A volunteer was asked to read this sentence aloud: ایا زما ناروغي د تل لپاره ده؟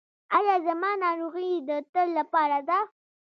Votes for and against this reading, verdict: 1, 2, rejected